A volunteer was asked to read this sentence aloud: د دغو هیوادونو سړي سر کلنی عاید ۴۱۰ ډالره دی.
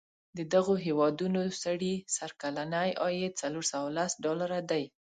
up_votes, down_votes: 0, 2